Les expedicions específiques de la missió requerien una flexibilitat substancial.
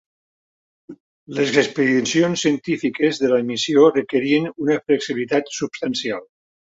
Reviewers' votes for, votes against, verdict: 4, 5, rejected